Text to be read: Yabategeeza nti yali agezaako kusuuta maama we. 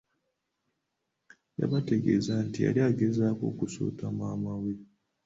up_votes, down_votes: 2, 1